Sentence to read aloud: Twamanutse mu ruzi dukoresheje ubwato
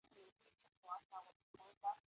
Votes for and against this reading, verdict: 0, 2, rejected